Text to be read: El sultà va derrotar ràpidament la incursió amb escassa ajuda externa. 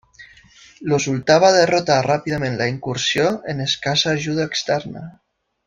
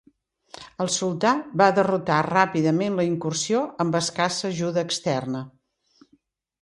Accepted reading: second